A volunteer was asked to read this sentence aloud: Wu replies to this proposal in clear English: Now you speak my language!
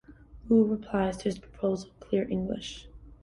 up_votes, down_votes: 1, 2